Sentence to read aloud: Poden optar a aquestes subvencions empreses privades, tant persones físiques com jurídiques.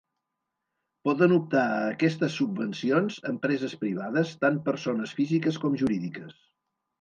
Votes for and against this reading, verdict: 2, 0, accepted